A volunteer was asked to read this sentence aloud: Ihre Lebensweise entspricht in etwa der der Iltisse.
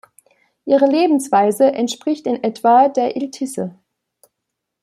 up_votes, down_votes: 1, 2